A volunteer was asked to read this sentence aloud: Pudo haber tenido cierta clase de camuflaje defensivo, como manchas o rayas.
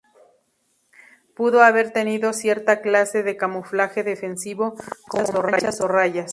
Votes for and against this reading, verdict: 0, 2, rejected